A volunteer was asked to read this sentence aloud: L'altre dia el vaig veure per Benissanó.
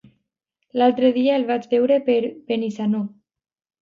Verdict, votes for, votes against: accepted, 2, 0